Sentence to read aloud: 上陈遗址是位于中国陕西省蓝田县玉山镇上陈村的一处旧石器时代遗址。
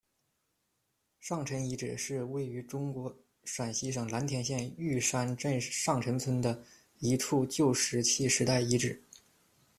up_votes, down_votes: 2, 0